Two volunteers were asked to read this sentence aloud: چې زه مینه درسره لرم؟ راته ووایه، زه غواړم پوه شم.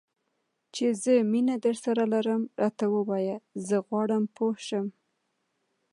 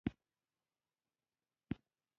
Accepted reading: first